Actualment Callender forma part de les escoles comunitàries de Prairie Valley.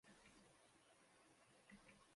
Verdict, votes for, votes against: rejected, 0, 2